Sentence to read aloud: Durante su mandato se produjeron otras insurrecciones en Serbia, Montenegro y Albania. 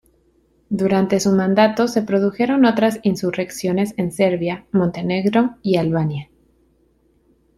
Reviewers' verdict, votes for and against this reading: accepted, 2, 0